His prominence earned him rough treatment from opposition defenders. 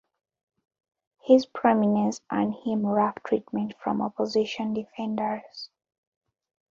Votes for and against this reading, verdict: 2, 0, accepted